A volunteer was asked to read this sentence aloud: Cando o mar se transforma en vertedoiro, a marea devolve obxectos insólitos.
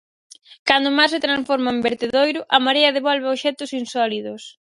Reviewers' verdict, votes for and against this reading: rejected, 0, 4